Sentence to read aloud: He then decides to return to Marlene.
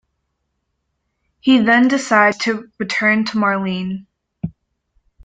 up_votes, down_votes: 2, 1